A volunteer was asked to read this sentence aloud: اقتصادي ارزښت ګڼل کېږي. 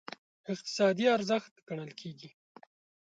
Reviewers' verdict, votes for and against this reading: accepted, 2, 0